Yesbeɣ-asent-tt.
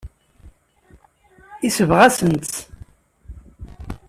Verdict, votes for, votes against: accepted, 2, 0